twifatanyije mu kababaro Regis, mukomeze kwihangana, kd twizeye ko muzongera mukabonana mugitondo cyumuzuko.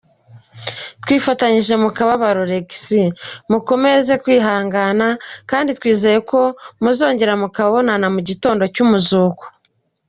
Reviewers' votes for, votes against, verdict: 2, 0, accepted